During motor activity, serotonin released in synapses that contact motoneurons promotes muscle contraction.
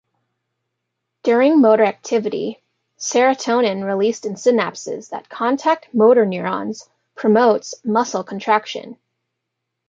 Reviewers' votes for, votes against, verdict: 2, 0, accepted